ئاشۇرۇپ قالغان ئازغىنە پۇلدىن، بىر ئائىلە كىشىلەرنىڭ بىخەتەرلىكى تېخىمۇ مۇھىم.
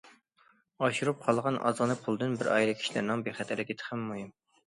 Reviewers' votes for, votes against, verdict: 2, 0, accepted